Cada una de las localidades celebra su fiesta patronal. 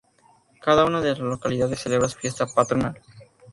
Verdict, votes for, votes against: accepted, 2, 0